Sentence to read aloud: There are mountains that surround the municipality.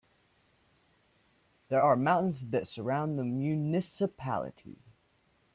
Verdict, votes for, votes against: accepted, 2, 1